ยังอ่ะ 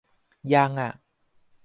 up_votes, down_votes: 2, 0